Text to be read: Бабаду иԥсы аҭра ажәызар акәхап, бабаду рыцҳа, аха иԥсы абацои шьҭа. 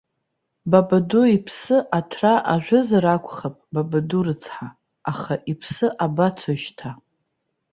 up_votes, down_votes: 2, 0